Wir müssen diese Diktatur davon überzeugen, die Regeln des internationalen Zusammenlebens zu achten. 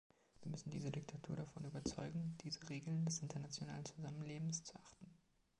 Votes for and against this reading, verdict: 1, 2, rejected